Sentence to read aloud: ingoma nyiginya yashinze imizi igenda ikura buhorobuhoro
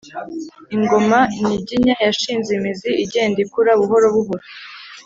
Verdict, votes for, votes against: accepted, 3, 0